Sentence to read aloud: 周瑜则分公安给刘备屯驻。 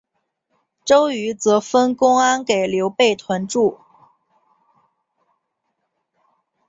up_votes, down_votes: 5, 0